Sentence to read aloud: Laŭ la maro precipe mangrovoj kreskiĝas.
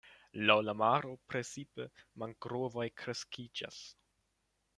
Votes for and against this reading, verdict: 0, 2, rejected